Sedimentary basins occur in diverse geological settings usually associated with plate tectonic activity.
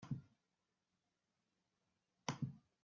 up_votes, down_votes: 0, 2